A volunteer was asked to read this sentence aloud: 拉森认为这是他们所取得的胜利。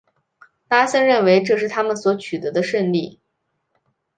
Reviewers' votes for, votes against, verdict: 4, 0, accepted